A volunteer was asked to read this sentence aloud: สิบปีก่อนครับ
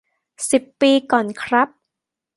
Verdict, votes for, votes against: accepted, 2, 1